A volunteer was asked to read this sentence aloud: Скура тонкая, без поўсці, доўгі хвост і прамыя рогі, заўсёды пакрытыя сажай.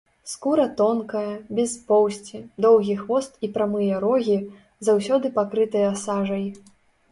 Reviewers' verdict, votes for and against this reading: rejected, 1, 2